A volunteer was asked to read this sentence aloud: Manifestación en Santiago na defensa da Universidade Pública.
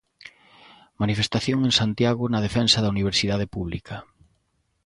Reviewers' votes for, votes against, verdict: 2, 0, accepted